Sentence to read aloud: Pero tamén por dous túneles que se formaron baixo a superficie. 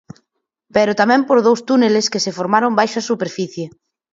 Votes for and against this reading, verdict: 4, 0, accepted